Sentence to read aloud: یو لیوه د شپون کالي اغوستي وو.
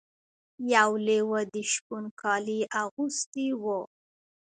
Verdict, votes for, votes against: accepted, 2, 0